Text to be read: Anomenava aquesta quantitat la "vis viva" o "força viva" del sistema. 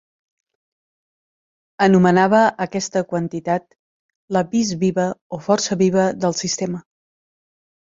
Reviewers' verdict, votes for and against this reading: accepted, 2, 1